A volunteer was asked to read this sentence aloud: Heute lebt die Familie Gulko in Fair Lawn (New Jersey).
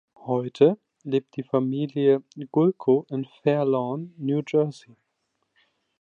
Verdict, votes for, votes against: accepted, 2, 0